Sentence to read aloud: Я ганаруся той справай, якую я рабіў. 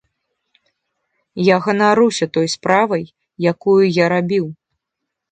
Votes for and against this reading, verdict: 2, 1, accepted